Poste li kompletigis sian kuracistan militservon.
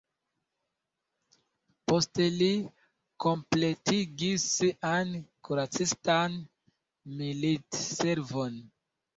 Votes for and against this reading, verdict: 0, 2, rejected